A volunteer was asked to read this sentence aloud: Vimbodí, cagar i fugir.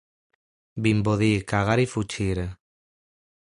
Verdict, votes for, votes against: rejected, 1, 2